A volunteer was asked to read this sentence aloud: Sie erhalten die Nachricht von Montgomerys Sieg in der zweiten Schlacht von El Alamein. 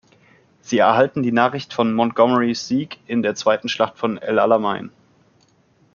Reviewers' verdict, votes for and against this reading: accepted, 2, 0